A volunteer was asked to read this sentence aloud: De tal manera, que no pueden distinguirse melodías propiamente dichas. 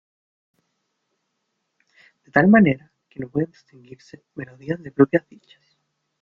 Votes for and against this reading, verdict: 0, 2, rejected